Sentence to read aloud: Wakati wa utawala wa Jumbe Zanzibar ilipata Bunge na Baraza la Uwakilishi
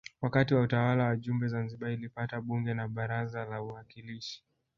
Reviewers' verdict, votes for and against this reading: rejected, 1, 2